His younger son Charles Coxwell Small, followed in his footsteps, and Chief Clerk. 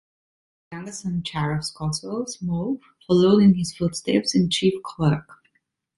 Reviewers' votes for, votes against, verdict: 1, 2, rejected